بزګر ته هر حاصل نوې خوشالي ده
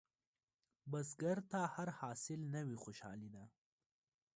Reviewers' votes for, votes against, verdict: 0, 2, rejected